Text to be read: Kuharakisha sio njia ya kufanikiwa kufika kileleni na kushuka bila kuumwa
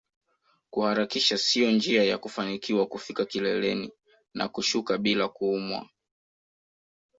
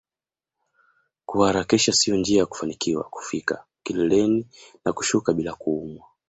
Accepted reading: second